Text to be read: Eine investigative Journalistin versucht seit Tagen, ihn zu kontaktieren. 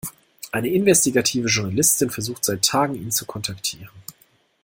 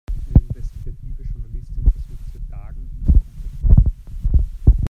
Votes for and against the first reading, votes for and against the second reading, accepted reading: 2, 0, 0, 2, first